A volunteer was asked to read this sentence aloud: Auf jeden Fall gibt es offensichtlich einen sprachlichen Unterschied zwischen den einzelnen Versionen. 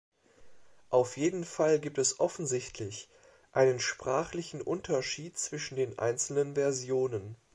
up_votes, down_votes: 3, 0